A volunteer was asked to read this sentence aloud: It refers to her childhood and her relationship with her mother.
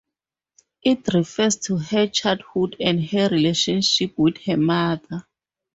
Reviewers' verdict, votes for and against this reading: accepted, 4, 0